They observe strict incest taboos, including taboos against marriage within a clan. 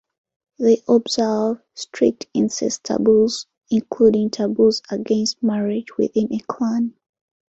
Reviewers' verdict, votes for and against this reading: accepted, 2, 0